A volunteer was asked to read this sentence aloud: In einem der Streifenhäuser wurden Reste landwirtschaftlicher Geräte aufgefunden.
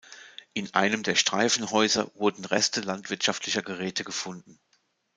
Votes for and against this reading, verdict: 1, 2, rejected